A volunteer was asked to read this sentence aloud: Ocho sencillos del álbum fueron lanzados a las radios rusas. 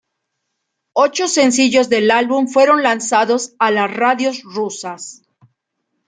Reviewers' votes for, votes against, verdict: 2, 0, accepted